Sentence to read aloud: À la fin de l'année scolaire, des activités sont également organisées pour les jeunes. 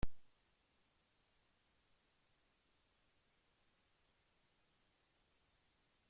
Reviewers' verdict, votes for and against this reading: rejected, 0, 2